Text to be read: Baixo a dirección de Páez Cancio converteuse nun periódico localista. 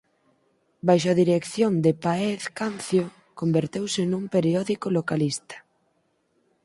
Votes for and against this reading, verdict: 2, 4, rejected